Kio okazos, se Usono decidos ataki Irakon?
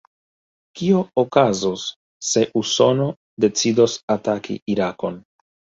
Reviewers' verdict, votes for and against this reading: rejected, 2, 3